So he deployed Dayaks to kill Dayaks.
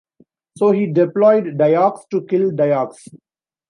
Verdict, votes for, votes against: accepted, 2, 0